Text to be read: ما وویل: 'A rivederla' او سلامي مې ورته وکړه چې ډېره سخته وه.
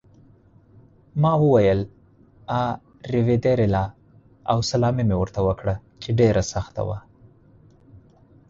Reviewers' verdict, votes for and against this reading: accepted, 4, 0